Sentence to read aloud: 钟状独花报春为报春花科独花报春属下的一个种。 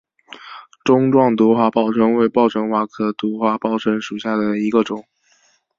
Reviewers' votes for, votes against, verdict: 7, 0, accepted